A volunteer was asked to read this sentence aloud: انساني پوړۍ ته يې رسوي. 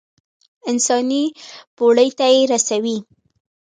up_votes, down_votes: 3, 2